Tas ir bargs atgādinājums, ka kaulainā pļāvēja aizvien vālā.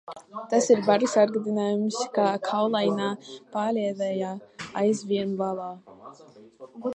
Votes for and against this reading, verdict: 0, 2, rejected